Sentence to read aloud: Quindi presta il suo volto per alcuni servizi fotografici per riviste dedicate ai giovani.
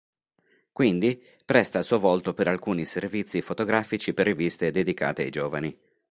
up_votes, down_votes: 2, 0